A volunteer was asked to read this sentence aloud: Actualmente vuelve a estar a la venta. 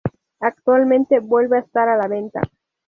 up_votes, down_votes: 2, 0